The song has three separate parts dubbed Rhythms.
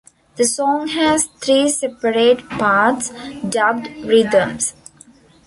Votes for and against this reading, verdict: 0, 2, rejected